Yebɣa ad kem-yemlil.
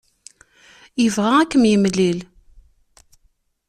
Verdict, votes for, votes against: accepted, 2, 0